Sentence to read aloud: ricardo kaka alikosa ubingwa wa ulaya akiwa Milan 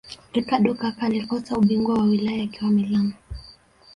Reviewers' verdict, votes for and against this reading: accepted, 3, 0